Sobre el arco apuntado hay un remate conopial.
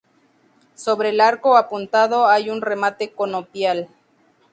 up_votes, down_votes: 2, 0